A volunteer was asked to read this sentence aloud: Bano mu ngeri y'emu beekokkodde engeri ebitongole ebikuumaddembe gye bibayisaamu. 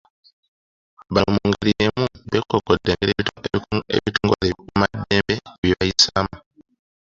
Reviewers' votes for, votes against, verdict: 0, 2, rejected